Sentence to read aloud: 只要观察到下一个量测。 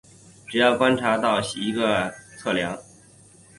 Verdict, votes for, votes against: rejected, 1, 2